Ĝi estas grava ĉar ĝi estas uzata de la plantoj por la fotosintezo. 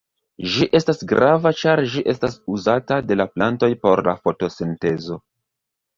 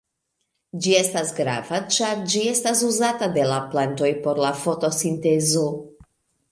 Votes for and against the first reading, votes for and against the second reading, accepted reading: 1, 2, 2, 1, second